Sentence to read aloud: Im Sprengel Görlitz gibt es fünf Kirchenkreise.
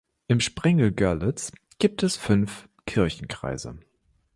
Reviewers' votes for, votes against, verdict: 2, 0, accepted